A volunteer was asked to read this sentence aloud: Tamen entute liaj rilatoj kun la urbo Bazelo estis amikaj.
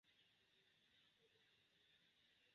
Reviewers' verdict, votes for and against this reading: rejected, 1, 2